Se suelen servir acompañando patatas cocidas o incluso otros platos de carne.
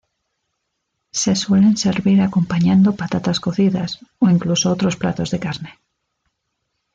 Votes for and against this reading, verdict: 2, 0, accepted